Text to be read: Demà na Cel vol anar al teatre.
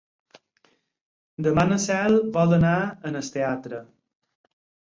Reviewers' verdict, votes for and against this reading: rejected, 2, 4